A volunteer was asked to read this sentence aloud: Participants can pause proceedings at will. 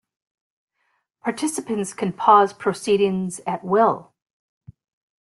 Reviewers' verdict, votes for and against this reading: accepted, 2, 0